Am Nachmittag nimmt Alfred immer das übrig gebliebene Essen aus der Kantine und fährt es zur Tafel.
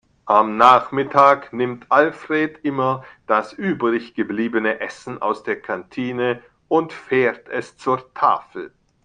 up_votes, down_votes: 1, 2